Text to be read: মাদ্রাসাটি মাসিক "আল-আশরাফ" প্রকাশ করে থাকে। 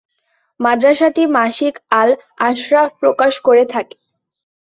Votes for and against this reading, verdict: 7, 0, accepted